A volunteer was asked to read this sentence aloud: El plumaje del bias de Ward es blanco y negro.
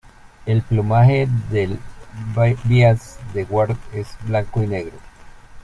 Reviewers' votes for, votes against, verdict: 0, 2, rejected